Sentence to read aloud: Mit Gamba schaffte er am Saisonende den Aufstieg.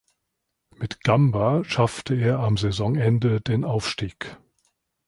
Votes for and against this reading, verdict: 2, 0, accepted